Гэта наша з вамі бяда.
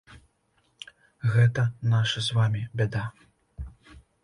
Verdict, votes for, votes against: accepted, 2, 0